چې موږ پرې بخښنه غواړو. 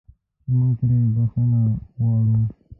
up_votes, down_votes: 2, 3